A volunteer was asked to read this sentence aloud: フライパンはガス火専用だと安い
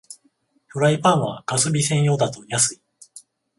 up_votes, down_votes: 7, 14